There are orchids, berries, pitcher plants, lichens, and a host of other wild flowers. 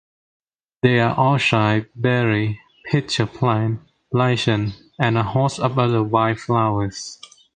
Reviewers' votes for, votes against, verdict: 0, 2, rejected